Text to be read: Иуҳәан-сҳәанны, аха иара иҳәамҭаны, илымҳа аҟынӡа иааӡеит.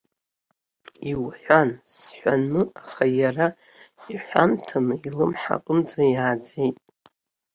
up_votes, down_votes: 1, 2